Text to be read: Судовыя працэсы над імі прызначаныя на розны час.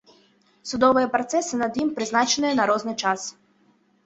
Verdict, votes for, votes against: rejected, 0, 2